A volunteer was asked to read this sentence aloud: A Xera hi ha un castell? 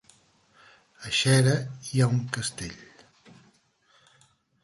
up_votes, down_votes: 0, 2